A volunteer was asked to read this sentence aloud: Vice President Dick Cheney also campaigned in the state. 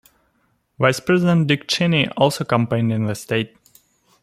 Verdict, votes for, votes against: accepted, 2, 0